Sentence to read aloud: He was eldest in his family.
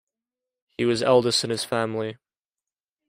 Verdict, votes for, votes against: accepted, 2, 0